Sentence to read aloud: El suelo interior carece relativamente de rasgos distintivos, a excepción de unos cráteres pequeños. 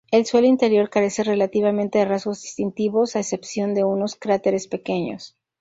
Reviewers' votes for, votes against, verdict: 2, 0, accepted